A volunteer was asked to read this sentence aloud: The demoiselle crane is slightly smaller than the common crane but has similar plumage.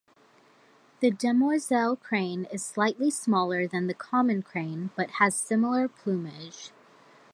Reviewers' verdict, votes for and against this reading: rejected, 1, 2